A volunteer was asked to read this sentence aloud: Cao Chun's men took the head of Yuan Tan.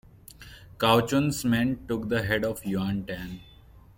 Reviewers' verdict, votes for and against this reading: accepted, 2, 1